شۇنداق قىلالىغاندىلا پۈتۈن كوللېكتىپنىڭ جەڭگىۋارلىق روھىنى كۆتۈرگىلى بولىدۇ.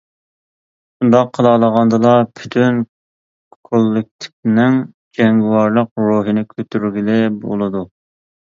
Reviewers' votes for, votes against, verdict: 2, 0, accepted